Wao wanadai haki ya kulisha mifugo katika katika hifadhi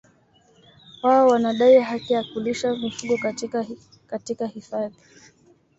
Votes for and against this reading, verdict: 2, 0, accepted